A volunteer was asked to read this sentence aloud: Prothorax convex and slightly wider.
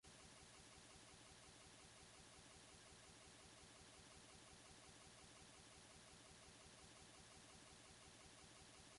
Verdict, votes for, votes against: rejected, 0, 2